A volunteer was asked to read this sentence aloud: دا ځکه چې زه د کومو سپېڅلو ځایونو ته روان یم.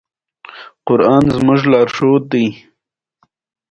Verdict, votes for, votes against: rejected, 1, 2